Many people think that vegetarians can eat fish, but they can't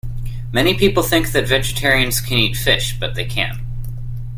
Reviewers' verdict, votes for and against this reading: accepted, 2, 0